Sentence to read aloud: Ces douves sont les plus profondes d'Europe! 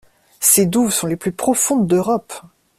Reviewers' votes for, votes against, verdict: 2, 0, accepted